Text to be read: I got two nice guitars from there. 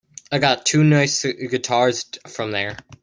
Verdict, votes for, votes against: rejected, 1, 2